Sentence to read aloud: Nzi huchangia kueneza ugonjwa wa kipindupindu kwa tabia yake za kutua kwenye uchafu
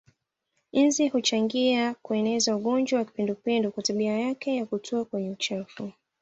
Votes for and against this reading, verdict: 2, 0, accepted